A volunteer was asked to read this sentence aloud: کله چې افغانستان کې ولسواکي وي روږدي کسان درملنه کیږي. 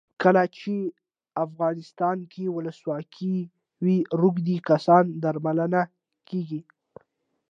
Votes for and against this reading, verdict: 2, 0, accepted